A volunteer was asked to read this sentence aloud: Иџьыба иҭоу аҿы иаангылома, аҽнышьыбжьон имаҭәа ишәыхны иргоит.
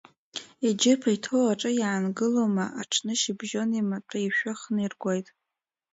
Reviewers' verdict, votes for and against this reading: accepted, 2, 0